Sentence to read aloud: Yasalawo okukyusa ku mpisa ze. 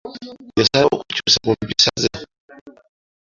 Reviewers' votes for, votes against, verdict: 1, 2, rejected